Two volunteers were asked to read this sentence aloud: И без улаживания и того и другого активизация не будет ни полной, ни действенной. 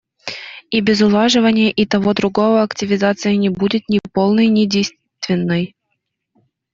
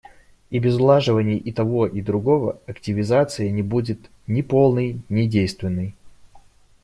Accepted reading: second